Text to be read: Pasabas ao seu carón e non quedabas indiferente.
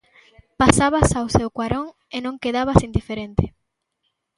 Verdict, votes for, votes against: rejected, 0, 2